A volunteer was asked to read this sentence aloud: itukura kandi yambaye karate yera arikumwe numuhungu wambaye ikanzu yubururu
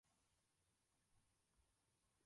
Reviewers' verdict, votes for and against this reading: rejected, 0, 2